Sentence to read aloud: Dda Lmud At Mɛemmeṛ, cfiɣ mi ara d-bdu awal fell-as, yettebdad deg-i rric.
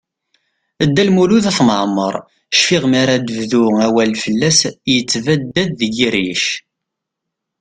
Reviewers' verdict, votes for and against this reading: accepted, 2, 0